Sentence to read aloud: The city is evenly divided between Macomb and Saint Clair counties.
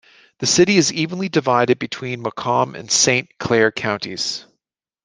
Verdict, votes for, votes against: accepted, 2, 0